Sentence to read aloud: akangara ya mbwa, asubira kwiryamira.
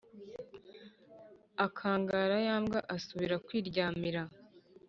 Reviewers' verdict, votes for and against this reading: accepted, 2, 0